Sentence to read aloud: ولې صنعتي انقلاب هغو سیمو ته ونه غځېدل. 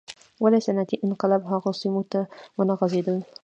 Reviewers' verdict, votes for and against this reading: accepted, 2, 1